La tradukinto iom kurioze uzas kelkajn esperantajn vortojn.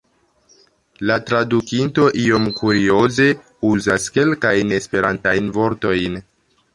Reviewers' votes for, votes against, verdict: 2, 1, accepted